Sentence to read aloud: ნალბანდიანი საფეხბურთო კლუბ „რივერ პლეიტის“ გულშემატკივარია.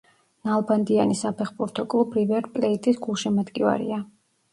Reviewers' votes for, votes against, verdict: 0, 2, rejected